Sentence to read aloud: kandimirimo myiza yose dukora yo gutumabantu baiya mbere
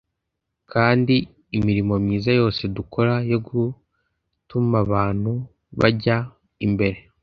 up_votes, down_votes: 1, 2